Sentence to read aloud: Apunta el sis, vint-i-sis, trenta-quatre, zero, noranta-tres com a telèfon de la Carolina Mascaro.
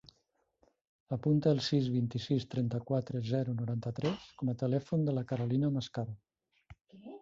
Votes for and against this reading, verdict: 0, 2, rejected